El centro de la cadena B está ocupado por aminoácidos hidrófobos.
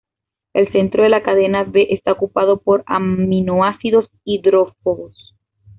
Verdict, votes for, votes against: accepted, 2, 0